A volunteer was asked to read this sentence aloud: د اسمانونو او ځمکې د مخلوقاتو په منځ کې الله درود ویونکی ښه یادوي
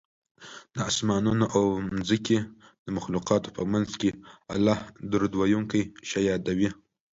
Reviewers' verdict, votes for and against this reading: accepted, 2, 1